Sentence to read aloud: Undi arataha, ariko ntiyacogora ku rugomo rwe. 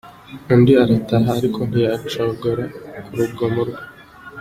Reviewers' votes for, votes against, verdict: 2, 1, accepted